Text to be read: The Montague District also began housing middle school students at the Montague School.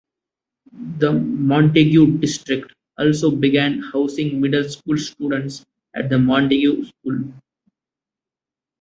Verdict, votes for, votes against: accepted, 2, 1